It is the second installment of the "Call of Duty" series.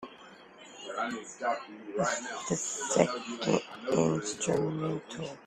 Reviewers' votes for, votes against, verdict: 0, 2, rejected